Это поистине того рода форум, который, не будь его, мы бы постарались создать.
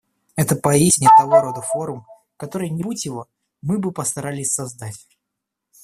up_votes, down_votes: 1, 2